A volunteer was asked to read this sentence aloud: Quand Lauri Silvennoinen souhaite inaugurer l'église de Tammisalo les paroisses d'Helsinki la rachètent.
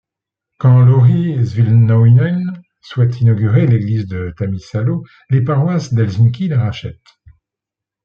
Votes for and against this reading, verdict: 2, 0, accepted